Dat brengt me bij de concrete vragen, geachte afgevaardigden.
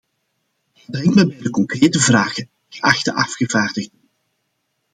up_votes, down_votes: 0, 2